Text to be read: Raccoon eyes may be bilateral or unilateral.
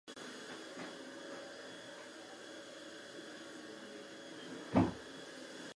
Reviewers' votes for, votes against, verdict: 0, 4, rejected